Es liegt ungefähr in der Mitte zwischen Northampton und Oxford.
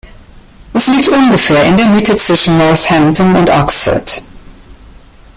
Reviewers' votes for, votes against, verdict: 2, 0, accepted